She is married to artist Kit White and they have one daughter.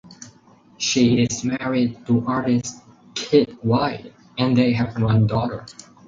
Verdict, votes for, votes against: accepted, 4, 0